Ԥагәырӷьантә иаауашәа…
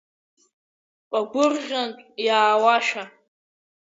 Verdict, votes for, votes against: accepted, 3, 0